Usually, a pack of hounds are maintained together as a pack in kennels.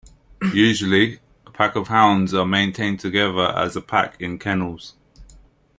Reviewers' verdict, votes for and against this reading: accepted, 2, 0